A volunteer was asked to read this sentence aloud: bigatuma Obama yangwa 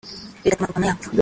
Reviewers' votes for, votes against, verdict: 0, 2, rejected